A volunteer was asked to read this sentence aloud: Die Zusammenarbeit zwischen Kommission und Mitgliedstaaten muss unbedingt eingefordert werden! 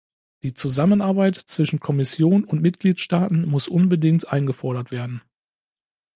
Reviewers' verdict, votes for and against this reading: accepted, 2, 0